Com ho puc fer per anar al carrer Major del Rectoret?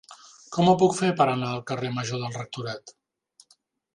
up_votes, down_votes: 0, 2